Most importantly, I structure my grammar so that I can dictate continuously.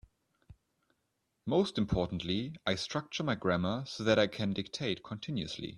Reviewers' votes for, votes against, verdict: 2, 0, accepted